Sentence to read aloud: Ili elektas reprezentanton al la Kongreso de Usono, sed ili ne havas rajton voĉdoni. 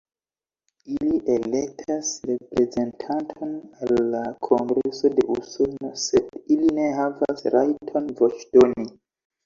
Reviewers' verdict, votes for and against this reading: rejected, 0, 2